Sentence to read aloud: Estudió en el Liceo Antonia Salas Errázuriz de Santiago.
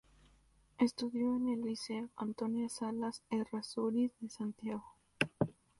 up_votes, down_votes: 2, 0